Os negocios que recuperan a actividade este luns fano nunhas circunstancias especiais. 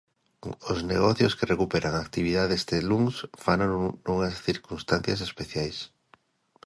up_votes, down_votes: 1, 2